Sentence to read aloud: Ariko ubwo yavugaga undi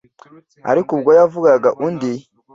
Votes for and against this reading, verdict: 2, 0, accepted